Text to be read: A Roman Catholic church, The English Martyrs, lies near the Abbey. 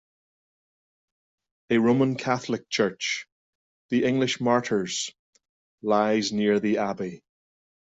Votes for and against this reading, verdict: 2, 0, accepted